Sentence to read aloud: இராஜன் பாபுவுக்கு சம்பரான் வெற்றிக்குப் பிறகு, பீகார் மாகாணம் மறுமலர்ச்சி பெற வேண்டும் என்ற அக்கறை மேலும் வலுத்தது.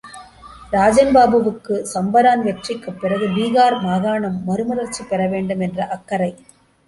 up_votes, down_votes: 0, 2